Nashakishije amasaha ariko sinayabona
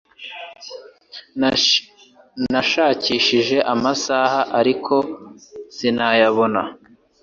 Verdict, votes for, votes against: rejected, 0, 2